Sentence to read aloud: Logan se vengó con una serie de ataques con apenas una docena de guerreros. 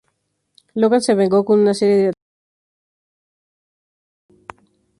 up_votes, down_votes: 2, 0